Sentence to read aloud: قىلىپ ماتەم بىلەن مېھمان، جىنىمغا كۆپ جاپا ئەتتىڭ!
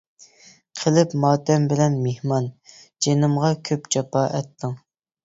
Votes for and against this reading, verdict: 2, 0, accepted